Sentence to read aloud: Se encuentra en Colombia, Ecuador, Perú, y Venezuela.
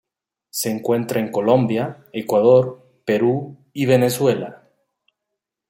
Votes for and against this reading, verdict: 1, 2, rejected